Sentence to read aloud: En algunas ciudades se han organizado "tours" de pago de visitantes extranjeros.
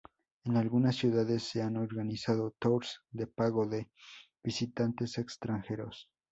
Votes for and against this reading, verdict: 2, 0, accepted